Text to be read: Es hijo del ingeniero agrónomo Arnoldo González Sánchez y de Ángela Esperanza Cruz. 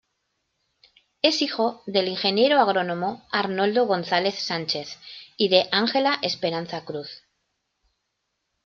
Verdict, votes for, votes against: accepted, 2, 0